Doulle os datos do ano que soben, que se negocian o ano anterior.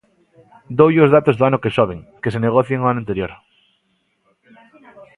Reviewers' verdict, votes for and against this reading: rejected, 1, 2